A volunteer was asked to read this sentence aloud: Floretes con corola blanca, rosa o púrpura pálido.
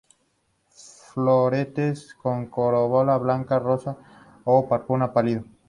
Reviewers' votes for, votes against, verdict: 0, 2, rejected